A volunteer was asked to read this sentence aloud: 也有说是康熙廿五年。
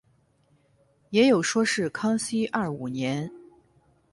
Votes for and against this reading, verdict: 6, 0, accepted